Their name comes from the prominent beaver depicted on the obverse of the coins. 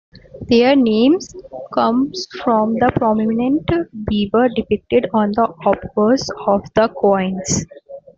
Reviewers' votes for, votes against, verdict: 2, 1, accepted